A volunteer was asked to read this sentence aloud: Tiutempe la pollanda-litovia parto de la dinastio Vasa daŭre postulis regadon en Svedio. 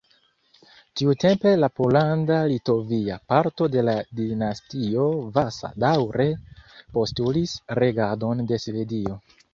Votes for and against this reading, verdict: 1, 2, rejected